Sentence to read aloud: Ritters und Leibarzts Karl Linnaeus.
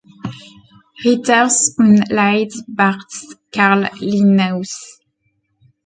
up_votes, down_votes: 0, 2